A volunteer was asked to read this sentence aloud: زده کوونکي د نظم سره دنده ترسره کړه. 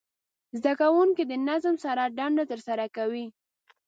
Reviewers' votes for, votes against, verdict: 1, 2, rejected